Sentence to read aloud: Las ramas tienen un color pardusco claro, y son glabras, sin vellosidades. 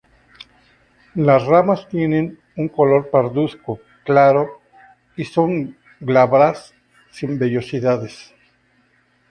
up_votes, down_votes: 0, 2